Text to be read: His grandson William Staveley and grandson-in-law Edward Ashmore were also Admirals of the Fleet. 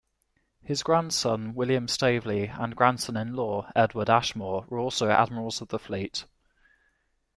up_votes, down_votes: 2, 0